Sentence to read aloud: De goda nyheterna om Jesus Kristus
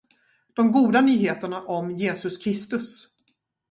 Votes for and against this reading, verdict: 2, 0, accepted